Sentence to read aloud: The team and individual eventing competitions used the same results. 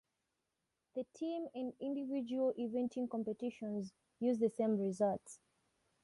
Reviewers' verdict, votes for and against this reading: accepted, 2, 0